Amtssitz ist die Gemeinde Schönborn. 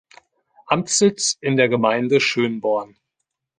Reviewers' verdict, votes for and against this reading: rejected, 1, 2